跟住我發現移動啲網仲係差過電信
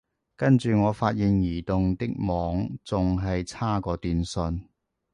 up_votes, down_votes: 1, 2